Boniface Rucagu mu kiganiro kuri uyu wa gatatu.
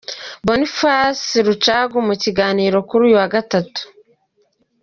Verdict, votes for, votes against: accepted, 2, 0